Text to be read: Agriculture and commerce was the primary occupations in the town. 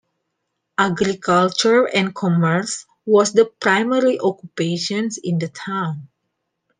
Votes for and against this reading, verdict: 2, 1, accepted